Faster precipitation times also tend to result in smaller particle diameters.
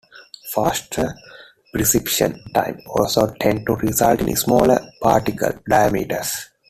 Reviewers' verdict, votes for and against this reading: rejected, 1, 2